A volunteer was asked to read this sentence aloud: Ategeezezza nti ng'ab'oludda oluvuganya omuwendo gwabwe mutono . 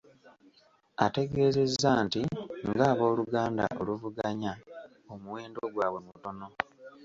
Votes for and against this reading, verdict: 1, 2, rejected